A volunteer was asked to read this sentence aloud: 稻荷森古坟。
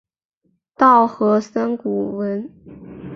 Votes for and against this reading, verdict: 2, 3, rejected